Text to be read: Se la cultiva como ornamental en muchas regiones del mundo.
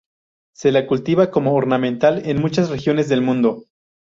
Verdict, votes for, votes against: rejected, 0, 2